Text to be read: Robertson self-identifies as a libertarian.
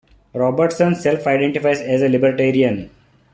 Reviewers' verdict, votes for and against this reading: accepted, 2, 0